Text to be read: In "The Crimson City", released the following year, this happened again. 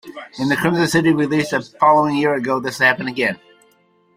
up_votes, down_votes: 0, 2